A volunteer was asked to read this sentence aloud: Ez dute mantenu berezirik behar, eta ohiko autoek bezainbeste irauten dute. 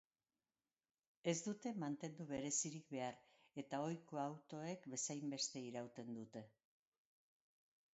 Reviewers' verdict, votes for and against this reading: rejected, 3, 4